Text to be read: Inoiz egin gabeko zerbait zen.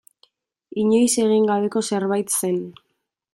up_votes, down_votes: 2, 0